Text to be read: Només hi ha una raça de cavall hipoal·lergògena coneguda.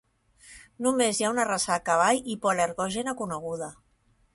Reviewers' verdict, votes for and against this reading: accepted, 2, 0